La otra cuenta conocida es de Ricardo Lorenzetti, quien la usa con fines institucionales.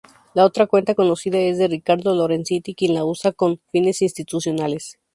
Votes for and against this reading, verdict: 2, 0, accepted